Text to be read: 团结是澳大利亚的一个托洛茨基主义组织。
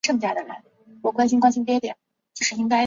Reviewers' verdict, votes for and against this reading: rejected, 1, 2